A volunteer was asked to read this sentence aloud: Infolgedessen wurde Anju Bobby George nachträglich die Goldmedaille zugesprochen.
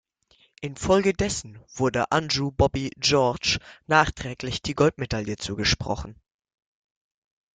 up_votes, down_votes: 2, 0